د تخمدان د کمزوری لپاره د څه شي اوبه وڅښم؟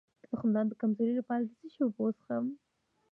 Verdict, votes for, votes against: rejected, 0, 2